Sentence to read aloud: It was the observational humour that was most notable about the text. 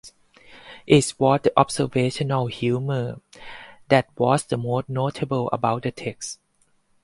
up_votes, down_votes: 0, 2